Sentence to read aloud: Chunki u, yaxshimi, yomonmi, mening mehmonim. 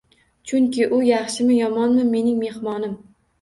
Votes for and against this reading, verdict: 2, 1, accepted